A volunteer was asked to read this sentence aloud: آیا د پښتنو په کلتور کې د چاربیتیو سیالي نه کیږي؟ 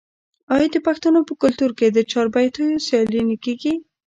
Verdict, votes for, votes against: rejected, 1, 2